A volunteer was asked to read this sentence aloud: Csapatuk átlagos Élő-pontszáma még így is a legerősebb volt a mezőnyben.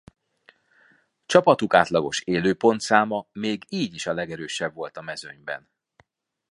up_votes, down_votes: 2, 0